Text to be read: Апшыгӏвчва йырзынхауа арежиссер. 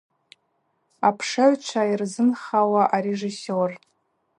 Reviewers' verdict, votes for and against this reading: rejected, 0, 2